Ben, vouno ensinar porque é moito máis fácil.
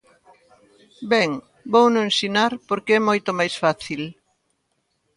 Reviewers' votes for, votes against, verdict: 3, 0, accepted